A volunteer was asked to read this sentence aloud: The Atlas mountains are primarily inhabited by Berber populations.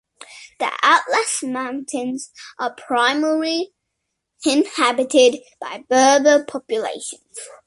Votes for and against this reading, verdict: 2, 1, accepted